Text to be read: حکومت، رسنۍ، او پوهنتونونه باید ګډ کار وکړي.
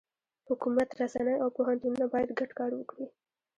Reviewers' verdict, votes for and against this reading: rejected, 1, 2